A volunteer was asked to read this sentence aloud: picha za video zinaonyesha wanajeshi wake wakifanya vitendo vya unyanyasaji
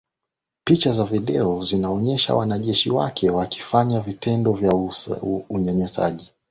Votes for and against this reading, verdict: 5, 0, accepted